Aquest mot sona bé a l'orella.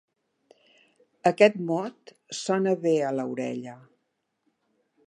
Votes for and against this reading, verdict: 0, 2, rejected